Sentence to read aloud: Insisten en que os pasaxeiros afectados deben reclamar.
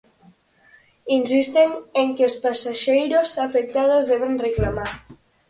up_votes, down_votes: 4, 0